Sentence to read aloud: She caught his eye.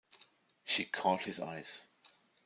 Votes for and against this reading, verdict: 1, 2, rejected